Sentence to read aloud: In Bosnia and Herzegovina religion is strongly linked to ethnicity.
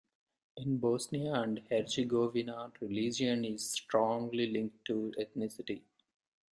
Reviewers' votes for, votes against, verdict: 2, 0, accepted